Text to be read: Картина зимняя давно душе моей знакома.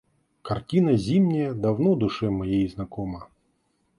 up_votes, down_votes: 2, 0